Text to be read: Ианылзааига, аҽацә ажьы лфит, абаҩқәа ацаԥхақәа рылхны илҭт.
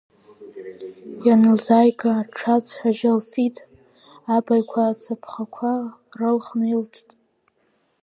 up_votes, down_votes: 0, 3